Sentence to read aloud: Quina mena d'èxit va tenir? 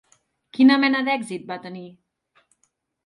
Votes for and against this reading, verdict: 3, 0, accepted